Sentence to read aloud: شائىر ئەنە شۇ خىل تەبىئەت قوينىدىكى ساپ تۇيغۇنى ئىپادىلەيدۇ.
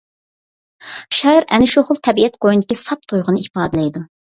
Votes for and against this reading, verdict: 2, 0, accepted